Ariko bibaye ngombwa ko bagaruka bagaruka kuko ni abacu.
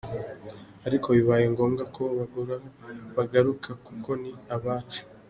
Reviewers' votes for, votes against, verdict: 2, 1, accepted